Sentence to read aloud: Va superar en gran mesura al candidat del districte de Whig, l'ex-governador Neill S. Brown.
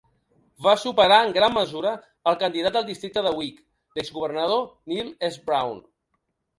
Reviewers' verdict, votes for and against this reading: rejected, 1, 2